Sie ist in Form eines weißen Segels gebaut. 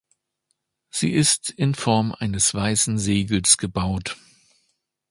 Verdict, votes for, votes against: accepted, 2, 0